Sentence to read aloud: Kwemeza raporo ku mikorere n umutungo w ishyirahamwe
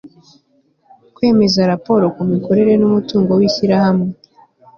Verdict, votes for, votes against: accepted, 2, 0